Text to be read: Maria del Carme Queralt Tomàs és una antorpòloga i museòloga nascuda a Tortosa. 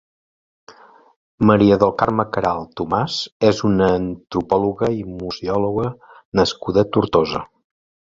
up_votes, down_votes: 1, 2